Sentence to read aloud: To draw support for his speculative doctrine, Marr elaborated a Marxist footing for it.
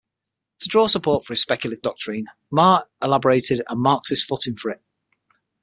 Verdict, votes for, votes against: rejected, 3, 6